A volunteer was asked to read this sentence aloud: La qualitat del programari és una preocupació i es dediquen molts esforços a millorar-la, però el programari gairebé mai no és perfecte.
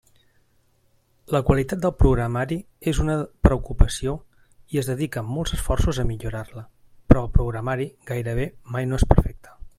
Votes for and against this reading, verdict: 3, 0, accepted